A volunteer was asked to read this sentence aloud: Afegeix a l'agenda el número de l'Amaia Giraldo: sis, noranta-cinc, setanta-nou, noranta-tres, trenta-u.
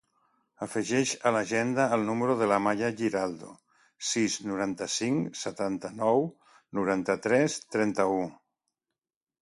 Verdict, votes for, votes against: accepted, 2, 0